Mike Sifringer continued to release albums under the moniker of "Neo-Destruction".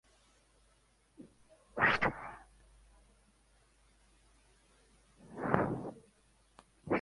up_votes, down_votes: 0, 2